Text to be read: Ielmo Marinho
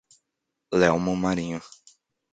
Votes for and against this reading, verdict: 1, 2, rejected